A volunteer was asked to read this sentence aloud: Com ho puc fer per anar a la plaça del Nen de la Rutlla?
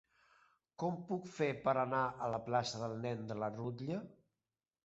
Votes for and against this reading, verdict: 1, 2, rejected